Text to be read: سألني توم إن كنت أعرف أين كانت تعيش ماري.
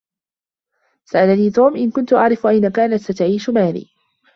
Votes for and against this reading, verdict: 1, 2, rejected